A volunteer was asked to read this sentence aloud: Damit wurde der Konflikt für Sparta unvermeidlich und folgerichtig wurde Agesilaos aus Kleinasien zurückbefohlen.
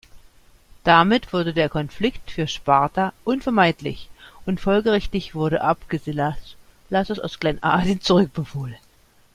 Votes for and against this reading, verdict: 1, 2, rejected